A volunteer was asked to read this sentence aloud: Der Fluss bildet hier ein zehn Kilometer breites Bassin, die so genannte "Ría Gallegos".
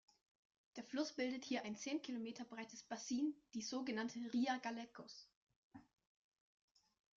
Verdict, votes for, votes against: rejected, 1, 2